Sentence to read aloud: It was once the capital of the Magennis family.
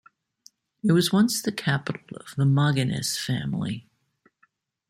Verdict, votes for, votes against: rejected, 1, 2